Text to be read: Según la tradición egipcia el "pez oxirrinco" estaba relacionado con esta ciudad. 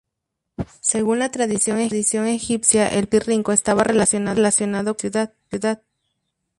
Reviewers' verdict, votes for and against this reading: rejected, 0, 2